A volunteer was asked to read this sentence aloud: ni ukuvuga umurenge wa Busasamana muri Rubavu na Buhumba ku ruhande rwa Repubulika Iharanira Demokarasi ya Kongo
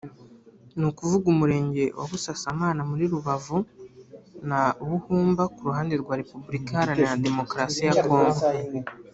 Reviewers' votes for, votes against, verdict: 3, 0, accepted